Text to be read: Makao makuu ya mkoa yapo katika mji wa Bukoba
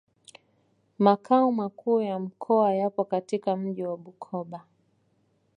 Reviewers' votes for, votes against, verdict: 2, 0, accepted